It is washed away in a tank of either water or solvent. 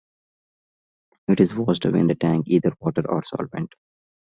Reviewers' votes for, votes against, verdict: 1, 2, rejected